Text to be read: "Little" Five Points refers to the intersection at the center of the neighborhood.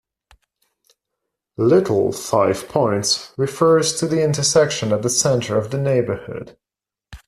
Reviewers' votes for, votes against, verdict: 2, 0, accepted